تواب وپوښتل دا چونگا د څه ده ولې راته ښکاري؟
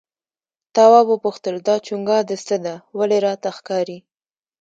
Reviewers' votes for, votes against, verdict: 2, 0, accepted